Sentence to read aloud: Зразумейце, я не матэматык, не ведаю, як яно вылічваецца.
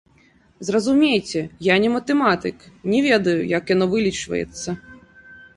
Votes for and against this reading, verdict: 0, 2, rejected